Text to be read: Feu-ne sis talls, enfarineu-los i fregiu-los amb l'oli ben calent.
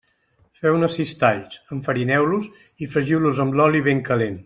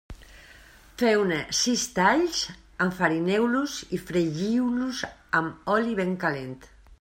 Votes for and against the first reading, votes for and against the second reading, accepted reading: 2, 0, 1, 2, first